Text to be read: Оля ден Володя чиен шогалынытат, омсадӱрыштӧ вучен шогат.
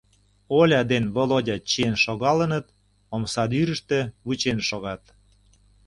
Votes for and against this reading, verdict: 0, 2, rejected